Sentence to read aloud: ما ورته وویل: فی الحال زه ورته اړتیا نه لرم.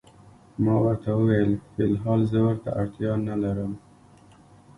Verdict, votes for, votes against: accepted, 2, 1